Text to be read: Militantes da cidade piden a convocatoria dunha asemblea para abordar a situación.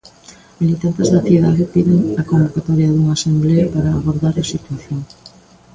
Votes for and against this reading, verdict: 0, 2, rejected